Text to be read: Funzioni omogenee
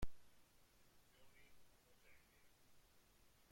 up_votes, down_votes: 0, 2